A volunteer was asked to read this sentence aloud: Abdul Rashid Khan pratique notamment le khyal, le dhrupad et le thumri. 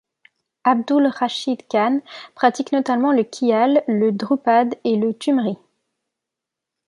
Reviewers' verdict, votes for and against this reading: accepted, 2, 0